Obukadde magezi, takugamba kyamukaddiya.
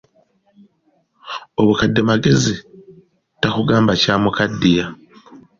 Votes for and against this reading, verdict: 2, 0, accepted